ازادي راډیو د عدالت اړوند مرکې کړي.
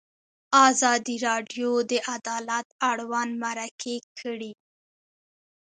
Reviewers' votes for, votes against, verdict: 2, 0, accepted